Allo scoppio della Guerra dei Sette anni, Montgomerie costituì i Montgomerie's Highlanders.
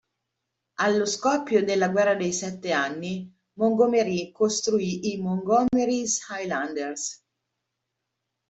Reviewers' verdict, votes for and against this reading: rejected, 0, 2